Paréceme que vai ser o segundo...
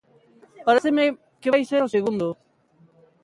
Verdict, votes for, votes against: rejected, 0, 2